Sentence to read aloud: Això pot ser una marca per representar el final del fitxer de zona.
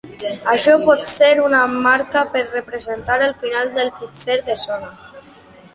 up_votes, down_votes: 2, 0